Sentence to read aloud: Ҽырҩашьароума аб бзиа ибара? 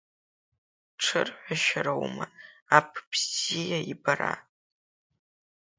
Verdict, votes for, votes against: accepted, 2, 0